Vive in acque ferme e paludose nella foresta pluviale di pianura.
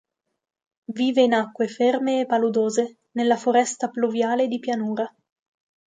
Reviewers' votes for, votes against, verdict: 2, 0, accepted